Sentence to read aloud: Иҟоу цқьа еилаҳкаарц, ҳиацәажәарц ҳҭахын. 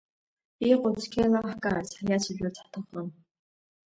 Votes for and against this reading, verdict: 2, 0, accepted